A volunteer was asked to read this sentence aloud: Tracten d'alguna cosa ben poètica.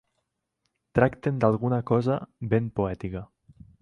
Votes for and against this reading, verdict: 4, 0, accepted